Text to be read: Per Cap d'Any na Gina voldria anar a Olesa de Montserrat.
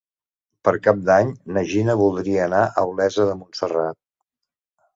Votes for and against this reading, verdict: 3, 0, accepted